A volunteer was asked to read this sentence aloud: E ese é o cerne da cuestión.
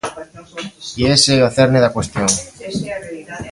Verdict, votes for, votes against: accepted, 2, 0